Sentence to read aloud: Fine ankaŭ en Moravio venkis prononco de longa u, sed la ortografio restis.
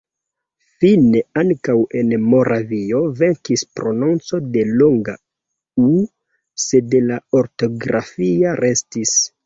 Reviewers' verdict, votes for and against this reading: rejected, 0, 2